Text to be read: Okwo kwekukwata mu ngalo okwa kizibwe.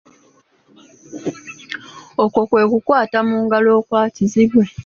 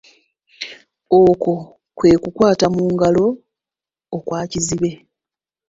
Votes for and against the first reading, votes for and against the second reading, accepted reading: 2, 1, 1, 2, first